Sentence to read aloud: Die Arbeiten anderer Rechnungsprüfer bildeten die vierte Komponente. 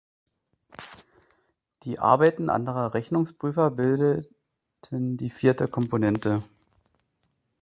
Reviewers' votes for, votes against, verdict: 1, 2, rejected